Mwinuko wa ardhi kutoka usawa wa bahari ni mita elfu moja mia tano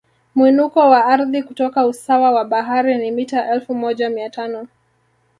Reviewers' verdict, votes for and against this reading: rejected, 0, 2